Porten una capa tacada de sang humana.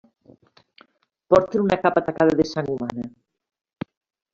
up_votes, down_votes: 2, 1